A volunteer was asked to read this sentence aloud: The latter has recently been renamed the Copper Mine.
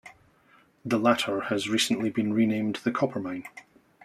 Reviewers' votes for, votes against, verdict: 2, 0, accepted